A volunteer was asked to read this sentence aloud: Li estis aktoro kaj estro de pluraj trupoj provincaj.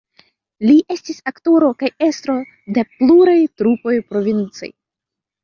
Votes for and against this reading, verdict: 2, 0, accepted